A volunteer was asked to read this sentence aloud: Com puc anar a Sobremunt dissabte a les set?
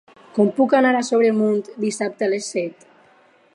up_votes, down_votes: 4, 2